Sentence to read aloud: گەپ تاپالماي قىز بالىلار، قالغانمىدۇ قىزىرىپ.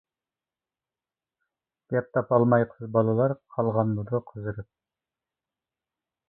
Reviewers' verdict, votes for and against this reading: accepted, 2, 0